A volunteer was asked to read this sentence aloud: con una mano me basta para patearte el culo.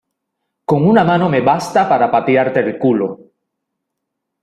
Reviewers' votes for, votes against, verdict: 2, 0, accepted